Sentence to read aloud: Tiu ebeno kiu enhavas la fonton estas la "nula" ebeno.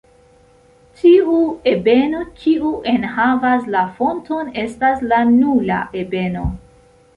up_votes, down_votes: 2, 0